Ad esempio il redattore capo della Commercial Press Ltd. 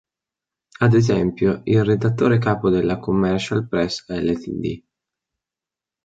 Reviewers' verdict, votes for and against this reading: accepted, 2, 0